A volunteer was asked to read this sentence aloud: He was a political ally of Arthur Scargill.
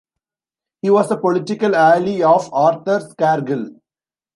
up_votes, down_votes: 1, 2